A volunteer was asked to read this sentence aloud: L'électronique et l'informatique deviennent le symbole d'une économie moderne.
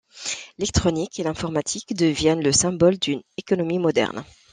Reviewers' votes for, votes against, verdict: 1, 2, rejected